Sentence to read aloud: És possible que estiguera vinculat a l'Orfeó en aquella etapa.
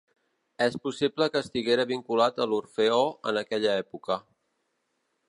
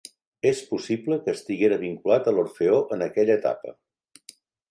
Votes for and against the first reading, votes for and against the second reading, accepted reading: 1, 3, 3, 0, second